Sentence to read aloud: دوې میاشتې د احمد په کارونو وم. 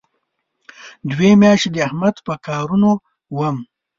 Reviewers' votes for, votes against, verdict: 2, 0, accepted